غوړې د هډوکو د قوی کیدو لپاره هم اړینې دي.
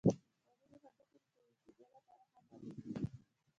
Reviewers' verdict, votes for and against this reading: rejected, 1, 2